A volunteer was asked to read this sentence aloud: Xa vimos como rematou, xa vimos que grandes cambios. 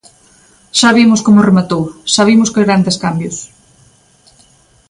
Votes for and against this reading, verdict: 2, 0, accepted